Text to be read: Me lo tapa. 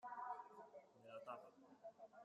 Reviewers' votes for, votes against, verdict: 0, 2, rejected